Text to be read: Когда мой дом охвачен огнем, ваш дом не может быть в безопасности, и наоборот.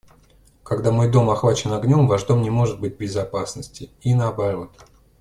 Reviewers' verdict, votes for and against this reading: accepted, 2, 0